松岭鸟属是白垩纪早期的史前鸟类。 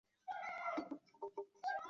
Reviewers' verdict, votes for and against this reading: rejected, 1, 2